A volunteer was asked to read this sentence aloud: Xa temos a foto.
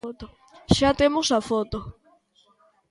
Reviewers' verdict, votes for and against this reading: rejected, 0, 2